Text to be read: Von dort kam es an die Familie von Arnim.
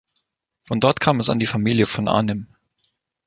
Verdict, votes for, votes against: accepted, 10, 0